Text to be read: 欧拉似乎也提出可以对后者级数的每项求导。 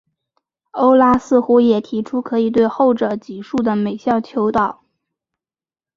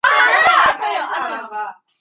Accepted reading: first